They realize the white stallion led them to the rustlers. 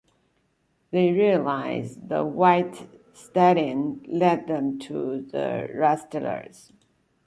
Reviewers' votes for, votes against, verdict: 2, 0, accepted